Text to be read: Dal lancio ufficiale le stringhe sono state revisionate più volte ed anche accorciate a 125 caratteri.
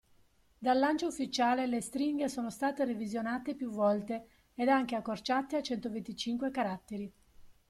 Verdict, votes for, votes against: rejected, 0, 2